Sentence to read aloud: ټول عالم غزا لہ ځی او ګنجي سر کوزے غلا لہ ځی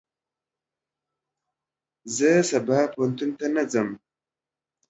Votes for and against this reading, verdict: 0, 2, rejected